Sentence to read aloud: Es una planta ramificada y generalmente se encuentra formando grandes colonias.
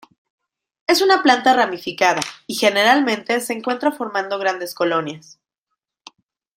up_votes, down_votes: 2, 0